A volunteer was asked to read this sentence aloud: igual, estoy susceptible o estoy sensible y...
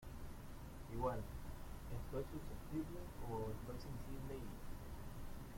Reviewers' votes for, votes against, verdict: 0, 2, rejected